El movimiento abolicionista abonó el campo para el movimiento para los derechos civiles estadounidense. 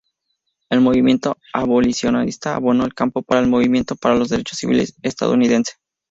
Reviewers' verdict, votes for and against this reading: rejected, 0, 2